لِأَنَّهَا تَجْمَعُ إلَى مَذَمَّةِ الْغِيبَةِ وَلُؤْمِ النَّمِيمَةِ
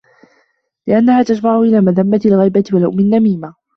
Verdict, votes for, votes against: accepted, 2, 0